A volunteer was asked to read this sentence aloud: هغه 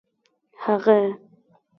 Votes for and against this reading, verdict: 2, 1, accepted